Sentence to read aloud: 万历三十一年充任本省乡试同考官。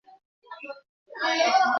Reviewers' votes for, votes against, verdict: 1, 3, rejected